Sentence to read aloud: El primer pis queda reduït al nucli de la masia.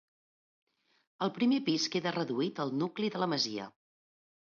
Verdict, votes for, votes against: accepted, 3, 0